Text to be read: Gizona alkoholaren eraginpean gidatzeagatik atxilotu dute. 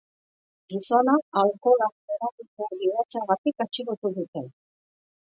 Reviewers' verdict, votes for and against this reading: rejected, 0, 2